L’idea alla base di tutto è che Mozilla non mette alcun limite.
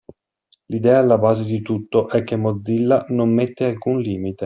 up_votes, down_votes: 2, 0